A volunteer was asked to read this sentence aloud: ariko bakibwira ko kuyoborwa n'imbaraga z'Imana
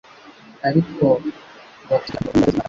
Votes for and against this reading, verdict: 0, 2, rejected